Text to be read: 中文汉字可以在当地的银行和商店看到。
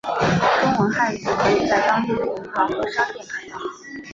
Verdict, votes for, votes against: rejected, 0, 2